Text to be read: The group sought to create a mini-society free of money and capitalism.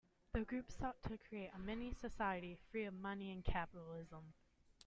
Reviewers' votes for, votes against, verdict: 2, 0, accepted